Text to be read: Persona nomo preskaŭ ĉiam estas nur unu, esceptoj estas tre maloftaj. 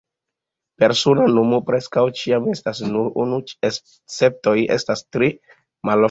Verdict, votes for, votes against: accepted, 2, 0